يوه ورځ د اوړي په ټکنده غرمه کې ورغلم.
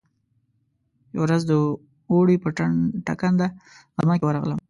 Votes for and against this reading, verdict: 1, 2, rejected